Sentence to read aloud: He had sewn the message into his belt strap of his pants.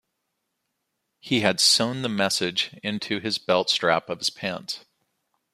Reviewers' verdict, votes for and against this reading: accepted, 2, 0